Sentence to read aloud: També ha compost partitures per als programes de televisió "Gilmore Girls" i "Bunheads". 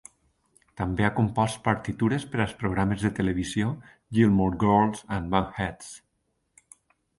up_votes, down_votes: 2, 0